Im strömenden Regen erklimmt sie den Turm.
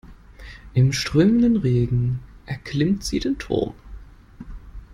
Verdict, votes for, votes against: rejected, 0, 2